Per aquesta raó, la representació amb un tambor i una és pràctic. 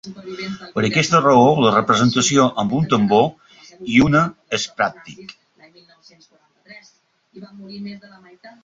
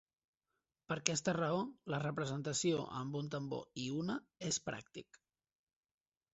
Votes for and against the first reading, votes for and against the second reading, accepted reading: 0, 2, 3, 1, second